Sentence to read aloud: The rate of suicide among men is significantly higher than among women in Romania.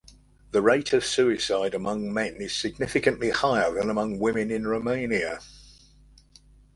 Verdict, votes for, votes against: accepted, 2, 0